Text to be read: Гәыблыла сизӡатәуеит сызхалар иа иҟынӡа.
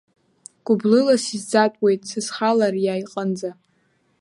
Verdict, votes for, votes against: accepted, 2, 0